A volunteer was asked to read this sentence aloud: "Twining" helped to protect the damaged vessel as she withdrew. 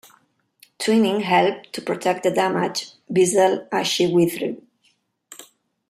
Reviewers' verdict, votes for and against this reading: rejected, 1, 2